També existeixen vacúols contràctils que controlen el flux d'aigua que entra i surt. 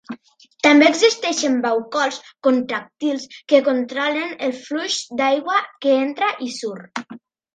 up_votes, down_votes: 1, 2